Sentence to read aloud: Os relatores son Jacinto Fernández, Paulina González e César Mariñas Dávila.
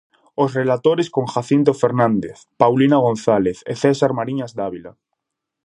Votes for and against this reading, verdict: 0, 2, rejected